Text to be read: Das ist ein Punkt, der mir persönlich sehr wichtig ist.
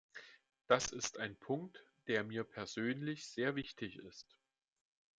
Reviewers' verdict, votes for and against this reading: accepted, 2, 0